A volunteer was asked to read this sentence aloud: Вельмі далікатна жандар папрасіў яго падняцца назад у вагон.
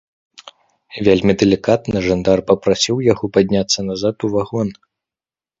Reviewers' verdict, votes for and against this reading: accepted, 2, 0